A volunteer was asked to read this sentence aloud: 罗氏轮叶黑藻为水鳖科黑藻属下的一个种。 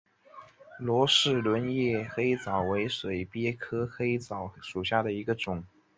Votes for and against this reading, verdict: 2, 0, accepted